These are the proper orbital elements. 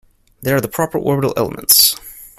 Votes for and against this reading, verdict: 2, 1, accepted